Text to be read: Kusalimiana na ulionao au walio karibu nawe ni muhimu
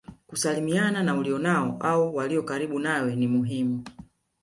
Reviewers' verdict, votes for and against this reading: accepted, 5, 0